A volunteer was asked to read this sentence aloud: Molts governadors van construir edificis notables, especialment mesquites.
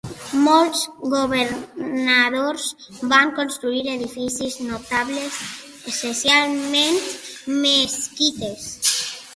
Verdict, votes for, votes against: rejected, 1, 2